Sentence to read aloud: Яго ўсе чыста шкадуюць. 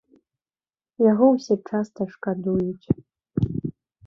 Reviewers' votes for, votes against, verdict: 0, 2, rejected